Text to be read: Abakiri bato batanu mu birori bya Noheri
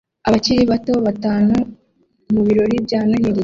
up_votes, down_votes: 2, 0